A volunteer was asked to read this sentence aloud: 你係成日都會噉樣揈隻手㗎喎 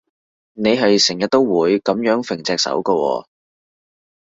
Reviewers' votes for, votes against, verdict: 2, 0, accepted